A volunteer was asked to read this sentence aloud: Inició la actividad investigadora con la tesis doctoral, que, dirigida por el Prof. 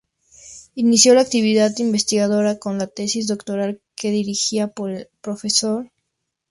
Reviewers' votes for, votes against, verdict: 2, 2, rejected